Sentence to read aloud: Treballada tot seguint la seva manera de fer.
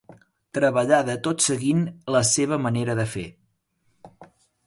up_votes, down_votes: 3, 0